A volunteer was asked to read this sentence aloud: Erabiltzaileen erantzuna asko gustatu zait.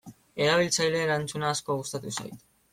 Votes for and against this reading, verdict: 2, 0, accepted